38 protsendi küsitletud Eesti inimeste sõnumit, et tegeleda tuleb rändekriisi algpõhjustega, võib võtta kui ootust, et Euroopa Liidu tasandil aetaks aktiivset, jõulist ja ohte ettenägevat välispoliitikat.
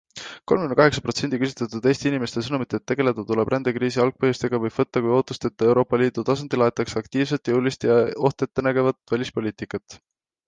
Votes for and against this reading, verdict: 0, 2, rejected